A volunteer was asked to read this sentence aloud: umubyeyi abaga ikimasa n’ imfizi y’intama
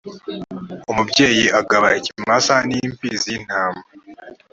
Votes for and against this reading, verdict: 0, 2, rejected